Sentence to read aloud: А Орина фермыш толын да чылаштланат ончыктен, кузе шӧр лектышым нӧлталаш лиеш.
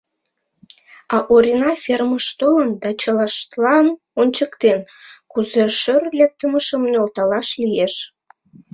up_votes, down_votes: 0, 2